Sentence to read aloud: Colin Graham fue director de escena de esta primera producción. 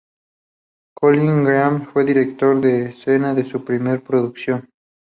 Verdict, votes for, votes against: rejected, 0, 2